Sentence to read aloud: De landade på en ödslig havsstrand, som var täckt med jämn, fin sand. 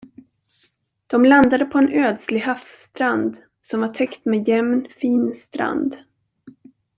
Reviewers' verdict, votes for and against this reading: rejected, 0, 2